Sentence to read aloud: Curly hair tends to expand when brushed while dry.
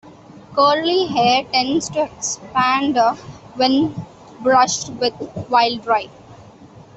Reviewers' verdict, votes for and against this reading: rejected, 1, 2